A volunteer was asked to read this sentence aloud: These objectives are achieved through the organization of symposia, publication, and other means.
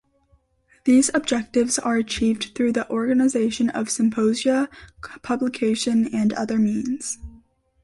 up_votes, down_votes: 2, 0